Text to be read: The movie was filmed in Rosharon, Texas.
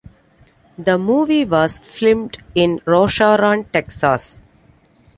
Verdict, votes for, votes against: rejected, 0, 2